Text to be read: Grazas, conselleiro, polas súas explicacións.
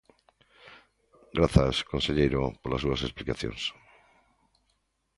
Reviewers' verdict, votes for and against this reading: accepted, 2, 0